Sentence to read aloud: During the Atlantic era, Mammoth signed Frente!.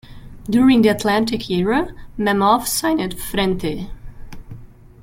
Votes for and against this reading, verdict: 2, 0, accepted